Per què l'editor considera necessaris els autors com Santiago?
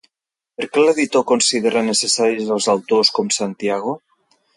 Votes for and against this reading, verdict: 1, 2, rejected